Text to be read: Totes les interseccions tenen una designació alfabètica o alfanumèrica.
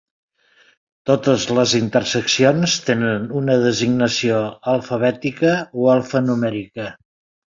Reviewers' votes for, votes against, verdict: 2, 1, accepted